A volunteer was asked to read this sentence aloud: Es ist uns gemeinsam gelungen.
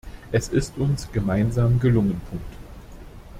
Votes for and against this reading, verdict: 2, 1, accepted